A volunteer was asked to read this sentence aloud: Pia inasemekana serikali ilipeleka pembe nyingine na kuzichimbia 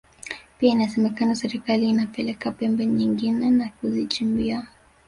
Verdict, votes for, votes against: rejected, 0, 2